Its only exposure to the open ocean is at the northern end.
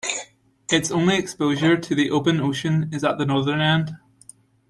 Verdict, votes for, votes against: rejected, 1, 2